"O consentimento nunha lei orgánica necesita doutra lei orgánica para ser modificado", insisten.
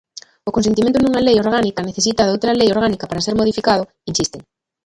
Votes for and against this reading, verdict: 0, 2, rejected